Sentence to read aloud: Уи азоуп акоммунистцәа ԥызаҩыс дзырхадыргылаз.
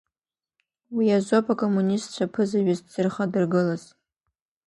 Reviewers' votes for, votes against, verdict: 2, 0, accepted